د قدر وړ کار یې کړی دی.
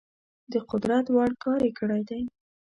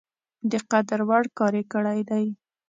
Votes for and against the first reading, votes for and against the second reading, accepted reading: 0, 2, 2, 0, second